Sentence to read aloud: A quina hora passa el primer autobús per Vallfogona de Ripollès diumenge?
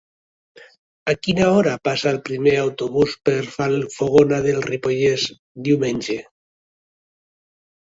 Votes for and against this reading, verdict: 1, 2, rejected